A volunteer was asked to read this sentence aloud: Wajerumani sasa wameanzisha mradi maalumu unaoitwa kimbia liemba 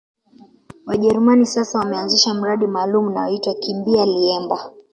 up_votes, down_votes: 2, 0